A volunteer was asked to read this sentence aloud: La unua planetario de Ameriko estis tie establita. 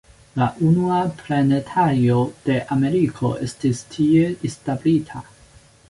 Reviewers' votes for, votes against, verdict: 2, 1, accepted